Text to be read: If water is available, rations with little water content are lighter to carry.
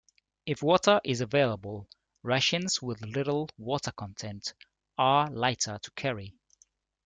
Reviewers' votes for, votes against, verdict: 2, 0, accepted